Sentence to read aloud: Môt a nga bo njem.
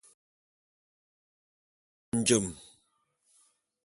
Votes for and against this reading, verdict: 0, 2, rejected